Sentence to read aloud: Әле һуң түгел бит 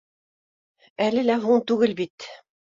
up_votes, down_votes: 1, 2